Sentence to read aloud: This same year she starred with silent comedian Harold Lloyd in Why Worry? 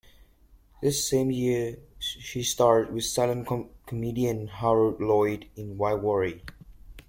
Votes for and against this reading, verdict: 1, 2, rejected